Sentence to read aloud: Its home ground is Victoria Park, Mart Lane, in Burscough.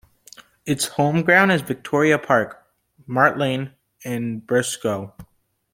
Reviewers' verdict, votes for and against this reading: accepted, 2, 0